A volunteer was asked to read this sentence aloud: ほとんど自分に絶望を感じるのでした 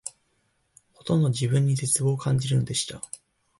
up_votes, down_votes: 4, 2